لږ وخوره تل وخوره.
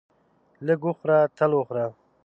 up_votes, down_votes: 2, 0